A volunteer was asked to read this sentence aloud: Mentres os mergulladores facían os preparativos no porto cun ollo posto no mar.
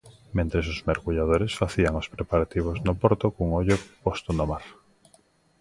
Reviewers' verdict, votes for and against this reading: accepted, 2, 1